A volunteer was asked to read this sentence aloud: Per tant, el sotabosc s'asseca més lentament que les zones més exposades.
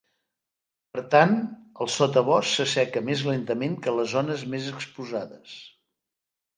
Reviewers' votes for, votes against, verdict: 2, 0, accepted